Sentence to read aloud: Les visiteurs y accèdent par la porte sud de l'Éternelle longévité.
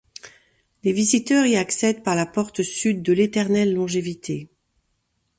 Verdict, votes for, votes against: accepted, 3, 0